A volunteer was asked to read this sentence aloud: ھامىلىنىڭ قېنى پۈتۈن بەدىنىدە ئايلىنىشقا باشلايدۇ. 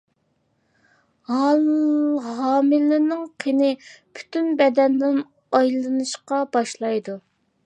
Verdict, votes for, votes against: rejected, 0, 2